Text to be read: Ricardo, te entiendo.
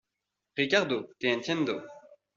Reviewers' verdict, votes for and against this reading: accepted, 2, 0